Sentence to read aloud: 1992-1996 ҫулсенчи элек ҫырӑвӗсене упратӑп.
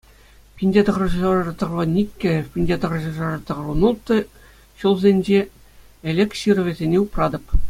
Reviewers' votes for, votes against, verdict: 0, 2, rejected